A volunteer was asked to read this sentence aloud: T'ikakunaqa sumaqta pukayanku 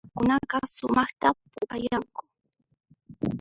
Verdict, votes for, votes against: rejected, 0, 2